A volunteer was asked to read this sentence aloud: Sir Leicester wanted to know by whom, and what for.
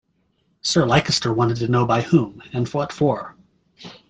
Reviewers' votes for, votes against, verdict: 0, 2, rejected